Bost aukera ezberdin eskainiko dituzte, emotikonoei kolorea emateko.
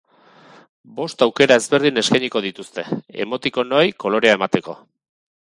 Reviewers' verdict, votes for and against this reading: accepted, 4, 0